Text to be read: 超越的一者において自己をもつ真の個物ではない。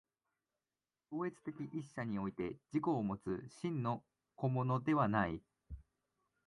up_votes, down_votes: 1, 2